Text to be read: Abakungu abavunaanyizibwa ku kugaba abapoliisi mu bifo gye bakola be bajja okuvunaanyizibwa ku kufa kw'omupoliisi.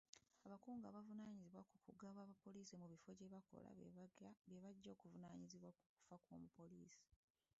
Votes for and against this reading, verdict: 1, 2, rejected